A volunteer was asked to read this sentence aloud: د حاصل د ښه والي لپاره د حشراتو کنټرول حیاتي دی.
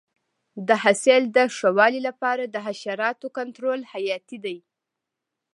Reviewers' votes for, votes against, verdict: 2, 0, accepted